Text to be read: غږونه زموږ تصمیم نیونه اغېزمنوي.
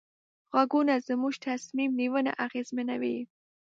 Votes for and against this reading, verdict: 2, 0, accepted